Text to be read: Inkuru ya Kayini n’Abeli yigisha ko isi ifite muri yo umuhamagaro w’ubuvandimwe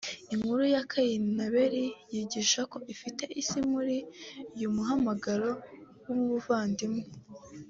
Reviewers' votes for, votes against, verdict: 1, 2, rejected